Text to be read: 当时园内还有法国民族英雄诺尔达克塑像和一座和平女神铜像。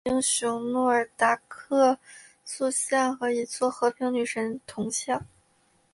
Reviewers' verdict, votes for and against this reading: rejected, 0, 2